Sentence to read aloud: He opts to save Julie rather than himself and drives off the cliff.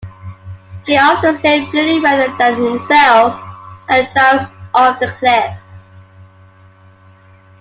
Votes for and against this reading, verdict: 0, 2, rejected